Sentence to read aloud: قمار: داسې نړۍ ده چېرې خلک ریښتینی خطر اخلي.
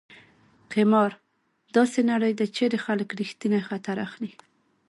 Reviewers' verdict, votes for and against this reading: rejected, 1, 2